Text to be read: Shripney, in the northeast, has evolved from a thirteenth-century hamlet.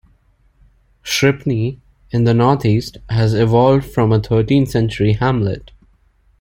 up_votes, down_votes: 2, 0